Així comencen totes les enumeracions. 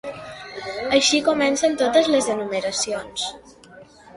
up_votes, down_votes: 3, 0